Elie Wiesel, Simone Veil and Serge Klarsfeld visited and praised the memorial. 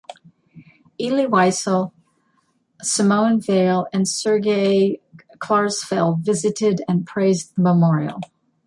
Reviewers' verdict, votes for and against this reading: rejected, 1, 2